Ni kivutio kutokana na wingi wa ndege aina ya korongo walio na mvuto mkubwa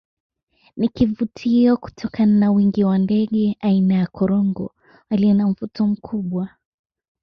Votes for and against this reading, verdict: 2, 0, accepted